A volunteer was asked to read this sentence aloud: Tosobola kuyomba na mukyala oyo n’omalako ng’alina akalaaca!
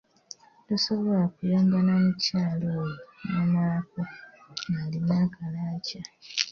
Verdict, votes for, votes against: accepted, 2, 0